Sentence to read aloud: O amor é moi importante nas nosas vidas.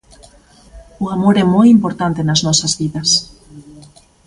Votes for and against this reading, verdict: 2, 0, accepted